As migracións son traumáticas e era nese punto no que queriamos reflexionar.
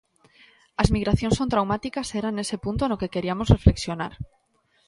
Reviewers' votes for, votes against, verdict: 1, 2, rejected